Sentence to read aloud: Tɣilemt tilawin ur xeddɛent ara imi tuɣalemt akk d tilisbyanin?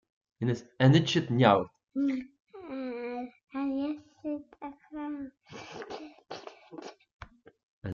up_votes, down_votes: 0, 2